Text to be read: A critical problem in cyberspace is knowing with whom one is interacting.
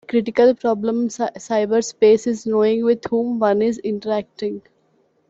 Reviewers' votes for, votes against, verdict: 0, 2, rejected